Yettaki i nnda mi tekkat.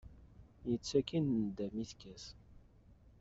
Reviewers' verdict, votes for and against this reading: accepted, 2, 1